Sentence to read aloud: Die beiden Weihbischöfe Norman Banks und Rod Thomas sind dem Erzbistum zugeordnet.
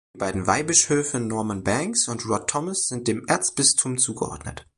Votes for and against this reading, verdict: 1, 2, rejected